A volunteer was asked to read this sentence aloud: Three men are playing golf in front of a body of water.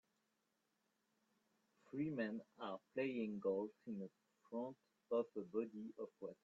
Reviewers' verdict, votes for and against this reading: rejected, 0, 2